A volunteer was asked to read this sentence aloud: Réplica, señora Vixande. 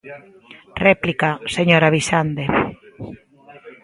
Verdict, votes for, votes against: rejected, 0, 2